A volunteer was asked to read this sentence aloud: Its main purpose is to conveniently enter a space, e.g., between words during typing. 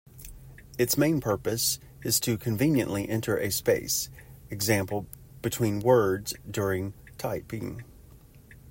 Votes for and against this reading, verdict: 1, 2, rejected